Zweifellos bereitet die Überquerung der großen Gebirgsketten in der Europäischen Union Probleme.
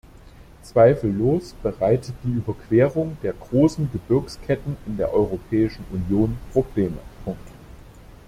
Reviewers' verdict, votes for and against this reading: rejected, 0, 2